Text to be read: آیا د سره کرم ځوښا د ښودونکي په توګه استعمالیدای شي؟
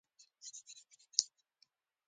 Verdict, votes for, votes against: rejected, 0, 2